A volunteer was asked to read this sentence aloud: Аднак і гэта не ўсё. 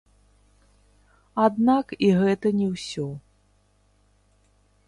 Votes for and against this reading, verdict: 0, 3, rejected